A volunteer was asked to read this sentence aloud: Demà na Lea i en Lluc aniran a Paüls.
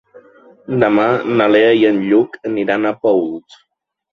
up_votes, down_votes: 2, 0